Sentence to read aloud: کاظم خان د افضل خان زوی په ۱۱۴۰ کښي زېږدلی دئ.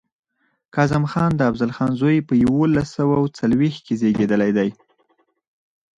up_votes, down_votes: 0, 2